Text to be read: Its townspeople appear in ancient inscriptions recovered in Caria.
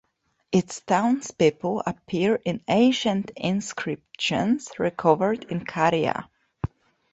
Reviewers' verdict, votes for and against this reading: accepted, 2, 1